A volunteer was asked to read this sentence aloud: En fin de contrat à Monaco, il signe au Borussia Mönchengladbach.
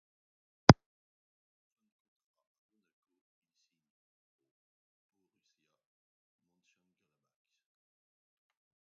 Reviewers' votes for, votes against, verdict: 0, 2, rejected